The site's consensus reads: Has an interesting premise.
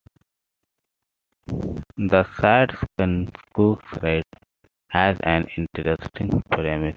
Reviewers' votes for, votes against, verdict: 0, 2, rejected